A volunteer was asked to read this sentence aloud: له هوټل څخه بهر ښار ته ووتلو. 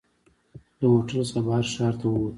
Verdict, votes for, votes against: rejected, 1, 2